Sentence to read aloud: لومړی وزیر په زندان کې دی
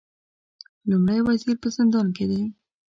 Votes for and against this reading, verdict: 0, 2, rejected